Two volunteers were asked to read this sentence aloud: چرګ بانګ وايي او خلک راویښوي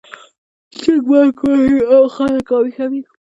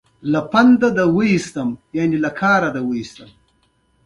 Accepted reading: first